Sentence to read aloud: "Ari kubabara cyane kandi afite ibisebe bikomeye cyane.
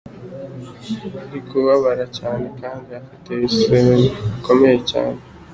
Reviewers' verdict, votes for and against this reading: accepted, 2, 0